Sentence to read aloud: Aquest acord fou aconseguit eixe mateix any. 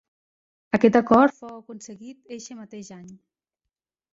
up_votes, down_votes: 0, 2